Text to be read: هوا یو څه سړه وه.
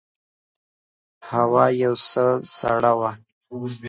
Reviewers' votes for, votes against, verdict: 2, 1, accepted